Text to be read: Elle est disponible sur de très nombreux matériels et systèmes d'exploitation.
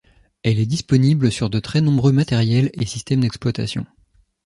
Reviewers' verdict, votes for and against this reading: accepted, 2, 0